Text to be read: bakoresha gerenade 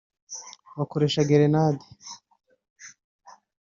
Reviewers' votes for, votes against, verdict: 3, 0, accepted